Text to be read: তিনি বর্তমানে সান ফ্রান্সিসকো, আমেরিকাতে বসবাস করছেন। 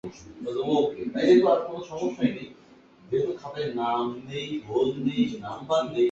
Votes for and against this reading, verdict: 0, 4, rejected